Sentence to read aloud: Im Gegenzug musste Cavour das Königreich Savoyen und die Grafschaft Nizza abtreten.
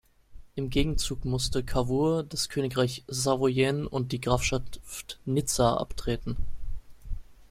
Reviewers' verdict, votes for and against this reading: rejected, 0, 2